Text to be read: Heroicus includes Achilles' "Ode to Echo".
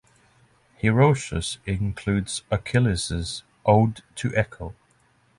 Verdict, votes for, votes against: accepted, 6, 0